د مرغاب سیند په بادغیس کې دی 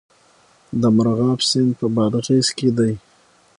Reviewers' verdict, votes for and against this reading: accepted, 6, 0